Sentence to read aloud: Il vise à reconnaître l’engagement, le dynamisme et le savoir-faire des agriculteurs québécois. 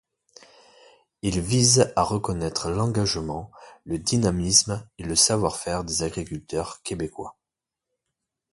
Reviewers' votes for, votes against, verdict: 2, 0, accepted